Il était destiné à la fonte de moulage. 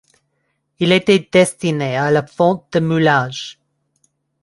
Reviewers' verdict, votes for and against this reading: accepted, 2, 0